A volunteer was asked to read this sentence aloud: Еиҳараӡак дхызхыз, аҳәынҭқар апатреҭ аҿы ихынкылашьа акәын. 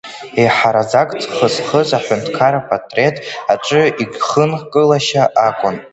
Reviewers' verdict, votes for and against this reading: rejected, 0, 2